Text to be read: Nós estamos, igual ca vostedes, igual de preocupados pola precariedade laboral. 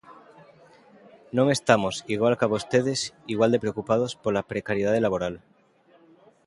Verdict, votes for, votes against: rejected, 0, 2